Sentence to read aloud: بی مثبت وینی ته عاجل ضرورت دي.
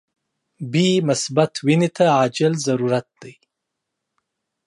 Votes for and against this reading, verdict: 2, 0, accepted